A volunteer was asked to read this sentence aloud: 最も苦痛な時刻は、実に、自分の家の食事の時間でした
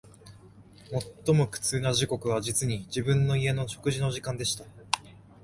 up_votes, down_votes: 2, 0